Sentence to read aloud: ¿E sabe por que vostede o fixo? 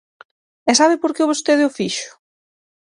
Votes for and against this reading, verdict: 6, 0, accepted